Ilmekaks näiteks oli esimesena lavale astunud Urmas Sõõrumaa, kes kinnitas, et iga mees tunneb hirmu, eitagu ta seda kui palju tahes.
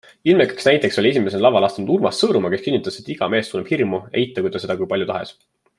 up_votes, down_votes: 2, 0